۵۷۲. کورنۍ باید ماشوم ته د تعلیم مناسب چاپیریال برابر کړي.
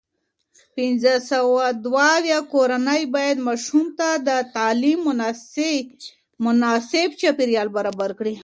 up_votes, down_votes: 0, 2